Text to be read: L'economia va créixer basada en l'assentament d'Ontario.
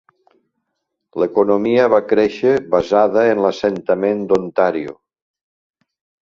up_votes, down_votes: 2, 1